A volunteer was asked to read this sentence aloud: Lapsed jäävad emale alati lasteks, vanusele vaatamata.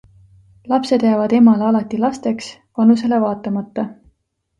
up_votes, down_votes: 2, 0